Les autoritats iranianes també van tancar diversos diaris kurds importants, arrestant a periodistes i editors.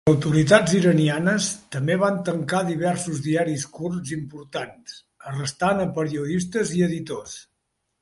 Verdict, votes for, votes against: rejected, 1, 2